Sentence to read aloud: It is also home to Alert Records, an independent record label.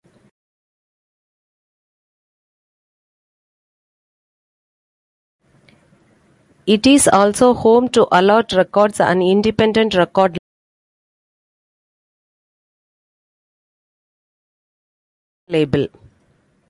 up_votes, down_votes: 0, 2